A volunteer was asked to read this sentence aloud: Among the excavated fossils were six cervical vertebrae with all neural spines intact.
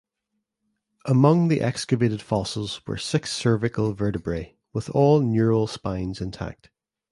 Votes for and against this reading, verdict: 7, 2, accepted